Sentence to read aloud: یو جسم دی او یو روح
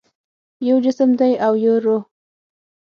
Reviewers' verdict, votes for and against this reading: accepted, 6, 0